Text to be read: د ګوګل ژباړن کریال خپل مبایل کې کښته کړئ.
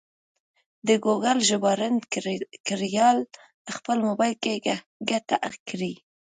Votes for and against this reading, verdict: 1, 2, rejected